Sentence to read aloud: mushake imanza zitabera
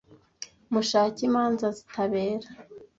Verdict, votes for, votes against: accepted, 2, 0